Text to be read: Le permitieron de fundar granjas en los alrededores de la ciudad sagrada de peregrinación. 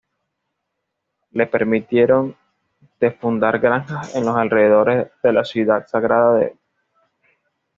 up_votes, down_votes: 1, 2